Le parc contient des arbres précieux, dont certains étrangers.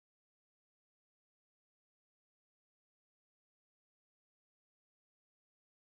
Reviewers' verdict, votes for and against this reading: rejected, 0, 2